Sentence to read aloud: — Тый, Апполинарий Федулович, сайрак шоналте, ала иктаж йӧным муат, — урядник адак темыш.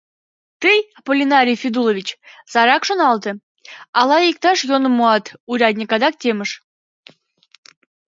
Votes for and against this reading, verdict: 3, 4, rejected